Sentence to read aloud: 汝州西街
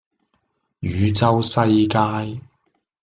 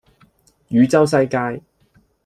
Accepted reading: second